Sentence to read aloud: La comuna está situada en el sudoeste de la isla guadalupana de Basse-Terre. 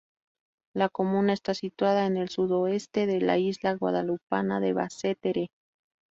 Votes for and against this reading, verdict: 0, 2, rejected